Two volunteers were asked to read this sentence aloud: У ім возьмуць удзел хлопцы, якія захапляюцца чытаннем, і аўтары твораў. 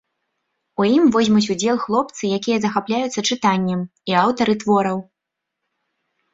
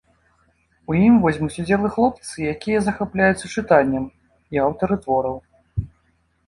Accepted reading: first